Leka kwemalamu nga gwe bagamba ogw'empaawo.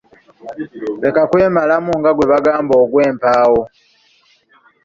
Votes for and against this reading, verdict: 2, 0, accepted